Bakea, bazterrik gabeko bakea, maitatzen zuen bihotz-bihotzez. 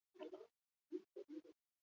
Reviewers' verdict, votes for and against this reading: rejected, 0, 2